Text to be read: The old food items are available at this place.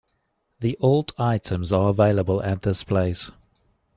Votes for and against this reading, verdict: 2, 1, accepted